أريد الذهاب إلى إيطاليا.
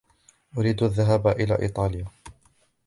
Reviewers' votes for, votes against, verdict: 2, 0, accepted